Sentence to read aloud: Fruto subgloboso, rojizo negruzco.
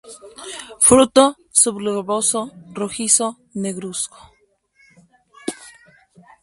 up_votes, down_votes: 4, 2